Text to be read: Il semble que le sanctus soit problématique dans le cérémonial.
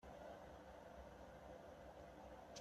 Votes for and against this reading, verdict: 0, 2, rejected